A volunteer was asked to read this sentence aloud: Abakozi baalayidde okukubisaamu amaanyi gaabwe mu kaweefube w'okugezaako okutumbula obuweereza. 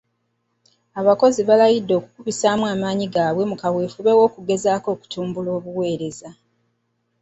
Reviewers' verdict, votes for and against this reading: accepted, 2, 0